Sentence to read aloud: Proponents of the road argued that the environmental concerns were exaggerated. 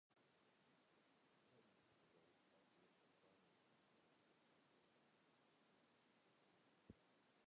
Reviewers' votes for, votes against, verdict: 0, 2, rejected